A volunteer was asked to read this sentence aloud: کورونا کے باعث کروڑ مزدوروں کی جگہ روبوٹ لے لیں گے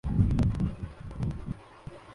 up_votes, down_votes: 0, 2